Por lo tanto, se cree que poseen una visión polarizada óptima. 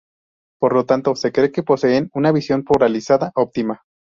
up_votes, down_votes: 4, 0